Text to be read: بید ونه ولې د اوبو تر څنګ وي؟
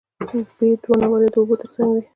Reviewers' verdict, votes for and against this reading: rejected, 1, 2